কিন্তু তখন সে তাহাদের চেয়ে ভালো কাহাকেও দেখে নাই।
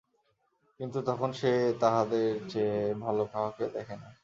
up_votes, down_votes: 2, 0